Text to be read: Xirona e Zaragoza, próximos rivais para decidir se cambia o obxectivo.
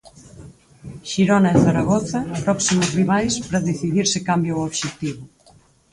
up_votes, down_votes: 2, 4